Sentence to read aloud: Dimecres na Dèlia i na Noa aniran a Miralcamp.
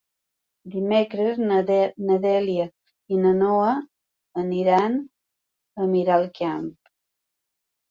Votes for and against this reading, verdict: 2, 3, rejected